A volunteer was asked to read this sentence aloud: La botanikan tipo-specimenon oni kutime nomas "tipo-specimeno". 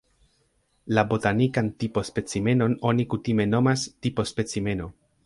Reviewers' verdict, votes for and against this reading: rejected, 0, 2